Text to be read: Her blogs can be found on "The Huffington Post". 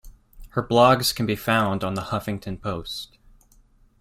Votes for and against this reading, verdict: 3, 0, accepted